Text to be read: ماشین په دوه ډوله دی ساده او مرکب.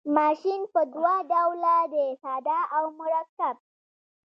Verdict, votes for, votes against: accepted, 2, 0